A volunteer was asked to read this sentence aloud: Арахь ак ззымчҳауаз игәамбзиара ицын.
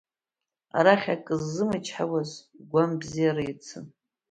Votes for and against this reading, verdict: 0, 2, rejected